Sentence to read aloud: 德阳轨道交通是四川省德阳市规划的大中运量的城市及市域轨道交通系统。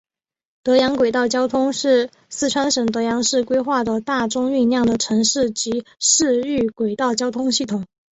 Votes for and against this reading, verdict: 2, 0, accepted